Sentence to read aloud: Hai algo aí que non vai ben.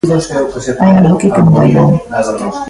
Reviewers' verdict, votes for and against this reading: rejected, 0, 2